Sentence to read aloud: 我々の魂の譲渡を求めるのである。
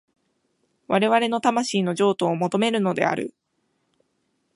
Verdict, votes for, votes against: accepted, 3, 1